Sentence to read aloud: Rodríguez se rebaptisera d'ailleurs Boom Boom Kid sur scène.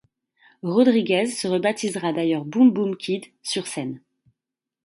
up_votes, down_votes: 2, 1